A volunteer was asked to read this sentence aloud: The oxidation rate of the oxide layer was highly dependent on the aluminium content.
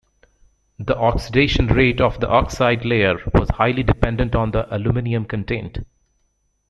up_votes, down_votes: 0, 2